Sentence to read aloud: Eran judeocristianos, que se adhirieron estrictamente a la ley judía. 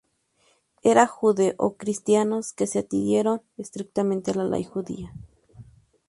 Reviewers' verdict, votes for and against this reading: rejected, 0, 2